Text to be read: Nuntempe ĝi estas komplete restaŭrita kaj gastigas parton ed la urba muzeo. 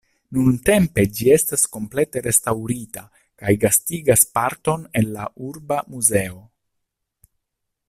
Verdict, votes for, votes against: rejected, 1, 2